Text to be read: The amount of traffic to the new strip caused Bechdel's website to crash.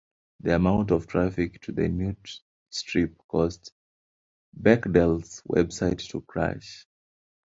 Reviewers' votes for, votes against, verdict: 0, 2, rejected